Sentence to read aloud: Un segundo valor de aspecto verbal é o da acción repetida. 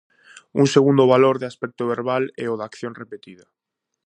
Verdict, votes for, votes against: accepted, 2, 0